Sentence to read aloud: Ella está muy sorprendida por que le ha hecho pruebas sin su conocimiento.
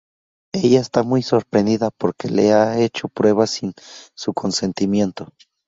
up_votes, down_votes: 0, 2